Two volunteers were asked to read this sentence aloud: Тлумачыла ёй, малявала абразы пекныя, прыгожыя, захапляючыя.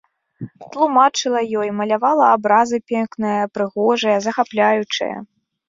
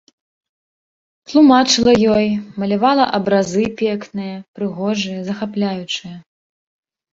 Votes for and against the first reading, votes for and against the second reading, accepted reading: 0, 2, 2, 0, second